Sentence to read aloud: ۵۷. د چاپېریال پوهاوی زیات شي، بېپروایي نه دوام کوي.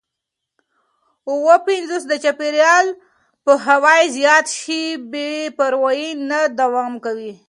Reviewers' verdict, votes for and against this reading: rejected, 0, 2